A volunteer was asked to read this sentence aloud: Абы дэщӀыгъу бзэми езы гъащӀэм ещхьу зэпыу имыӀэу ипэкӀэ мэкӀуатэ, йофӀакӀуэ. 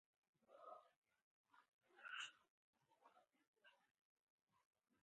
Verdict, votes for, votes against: rejected, 0, 4